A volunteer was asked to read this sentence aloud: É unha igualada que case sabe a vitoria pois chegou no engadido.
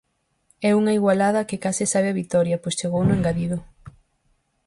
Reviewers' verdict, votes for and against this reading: accepted, 4, 0